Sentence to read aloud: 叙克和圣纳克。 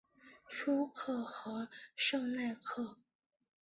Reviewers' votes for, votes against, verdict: 0, 3, rejected